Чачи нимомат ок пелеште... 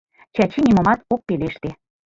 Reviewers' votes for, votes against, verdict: 2, 1, accepted